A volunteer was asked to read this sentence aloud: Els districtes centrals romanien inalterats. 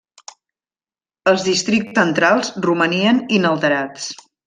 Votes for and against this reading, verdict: 0, 2, rejected